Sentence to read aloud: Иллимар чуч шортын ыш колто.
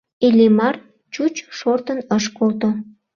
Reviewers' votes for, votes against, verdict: 2, 0, accepted